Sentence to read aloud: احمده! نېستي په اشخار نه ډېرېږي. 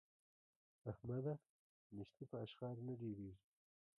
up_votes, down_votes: 1, 2